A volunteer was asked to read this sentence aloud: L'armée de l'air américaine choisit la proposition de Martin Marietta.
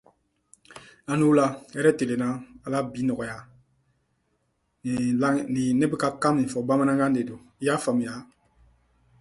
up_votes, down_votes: 0, 2